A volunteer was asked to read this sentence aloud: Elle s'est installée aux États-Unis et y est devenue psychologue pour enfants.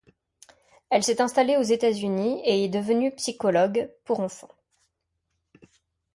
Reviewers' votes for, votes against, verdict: 1, 2, rejected